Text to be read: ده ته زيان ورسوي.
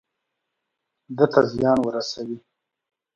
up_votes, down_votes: 2, 0